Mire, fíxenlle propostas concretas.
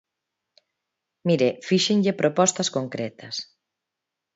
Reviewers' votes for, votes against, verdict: 2, 0, accepted